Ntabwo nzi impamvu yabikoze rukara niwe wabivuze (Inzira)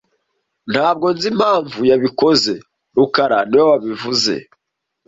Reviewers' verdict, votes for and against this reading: rejected, 0, 2